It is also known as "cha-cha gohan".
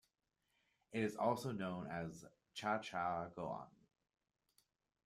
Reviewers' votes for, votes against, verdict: 2, 1, accepted